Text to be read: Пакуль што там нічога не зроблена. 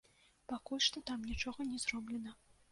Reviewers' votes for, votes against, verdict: 2, 0, accepted